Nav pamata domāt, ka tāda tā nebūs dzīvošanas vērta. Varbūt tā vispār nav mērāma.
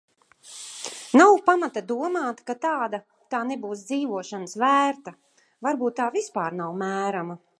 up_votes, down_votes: 1, 2